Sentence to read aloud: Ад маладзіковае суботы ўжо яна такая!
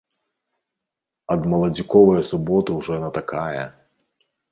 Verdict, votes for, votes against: rejected, 0, 2